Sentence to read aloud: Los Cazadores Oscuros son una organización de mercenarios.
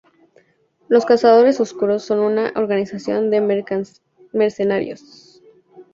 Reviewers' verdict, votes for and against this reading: rejected, 0, 2